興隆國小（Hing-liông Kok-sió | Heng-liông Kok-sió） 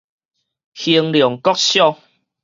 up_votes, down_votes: 4, 0